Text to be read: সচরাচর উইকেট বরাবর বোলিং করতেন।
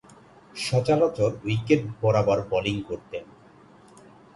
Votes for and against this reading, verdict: 2, 0, accepted